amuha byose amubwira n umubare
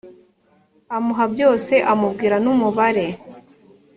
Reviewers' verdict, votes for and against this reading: accepted, 2, 0